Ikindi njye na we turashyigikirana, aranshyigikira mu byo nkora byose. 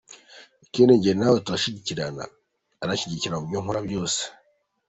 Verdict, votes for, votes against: accepted, 2, 1